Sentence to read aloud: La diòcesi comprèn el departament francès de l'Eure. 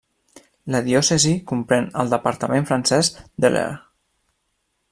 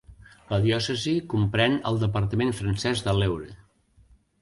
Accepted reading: second